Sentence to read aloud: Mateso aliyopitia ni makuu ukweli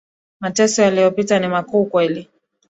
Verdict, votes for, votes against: accepted, 5, 3